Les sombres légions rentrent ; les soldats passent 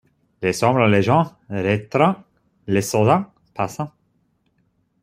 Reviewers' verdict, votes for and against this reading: rejected, 1, 2